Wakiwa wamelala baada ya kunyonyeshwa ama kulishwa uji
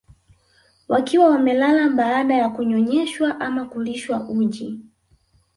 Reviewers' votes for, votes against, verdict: 2, 0, accepted